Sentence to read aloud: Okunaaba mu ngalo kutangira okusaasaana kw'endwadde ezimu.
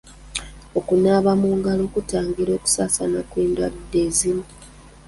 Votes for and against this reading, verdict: 0, 2, rejected